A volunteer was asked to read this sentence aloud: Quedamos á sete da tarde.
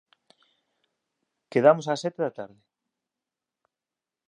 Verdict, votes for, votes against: rejected, 0, 2